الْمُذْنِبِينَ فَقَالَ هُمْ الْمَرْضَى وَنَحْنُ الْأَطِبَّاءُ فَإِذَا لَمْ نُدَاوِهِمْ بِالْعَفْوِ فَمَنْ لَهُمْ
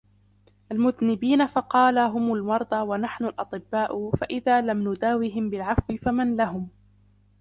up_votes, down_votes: 0, 2